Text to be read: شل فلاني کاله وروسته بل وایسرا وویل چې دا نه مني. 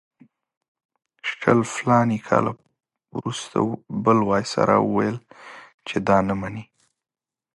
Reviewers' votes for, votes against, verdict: 2, 4, rejected